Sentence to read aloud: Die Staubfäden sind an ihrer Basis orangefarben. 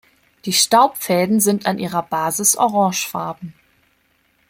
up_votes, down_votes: 2, 0